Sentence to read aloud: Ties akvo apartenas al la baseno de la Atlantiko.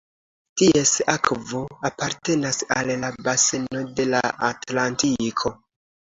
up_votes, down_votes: 1, 2